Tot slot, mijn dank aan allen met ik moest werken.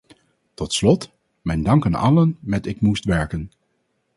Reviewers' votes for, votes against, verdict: 4, 0, accepted